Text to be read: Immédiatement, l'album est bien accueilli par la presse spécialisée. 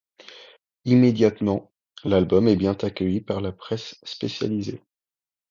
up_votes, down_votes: 1, 2